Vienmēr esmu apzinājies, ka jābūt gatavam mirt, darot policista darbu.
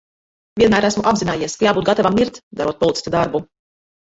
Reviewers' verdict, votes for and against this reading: rejected, 3, 4